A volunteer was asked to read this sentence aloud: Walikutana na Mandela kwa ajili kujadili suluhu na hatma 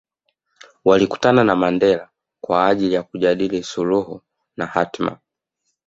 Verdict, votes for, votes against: accepted, 2, 0